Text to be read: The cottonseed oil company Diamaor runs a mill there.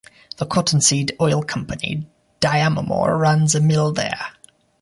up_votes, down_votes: 0, 2